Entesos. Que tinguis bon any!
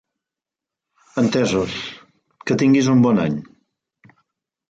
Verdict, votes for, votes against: rejected, 0, 2